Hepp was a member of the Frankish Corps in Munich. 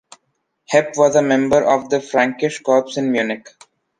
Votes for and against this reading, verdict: 2, 0, accepted